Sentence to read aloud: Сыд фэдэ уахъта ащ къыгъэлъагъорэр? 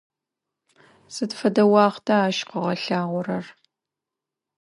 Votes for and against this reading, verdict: 2, 0, accepted